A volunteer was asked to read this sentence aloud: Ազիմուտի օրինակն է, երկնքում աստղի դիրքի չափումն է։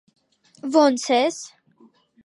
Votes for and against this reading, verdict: 0, 2, rejected